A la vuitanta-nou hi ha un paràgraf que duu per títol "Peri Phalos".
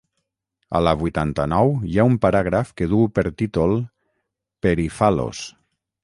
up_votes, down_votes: 6, 0